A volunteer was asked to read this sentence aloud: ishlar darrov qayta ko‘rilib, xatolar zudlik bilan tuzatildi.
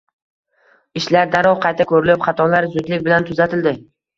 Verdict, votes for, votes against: rejected, 1, 2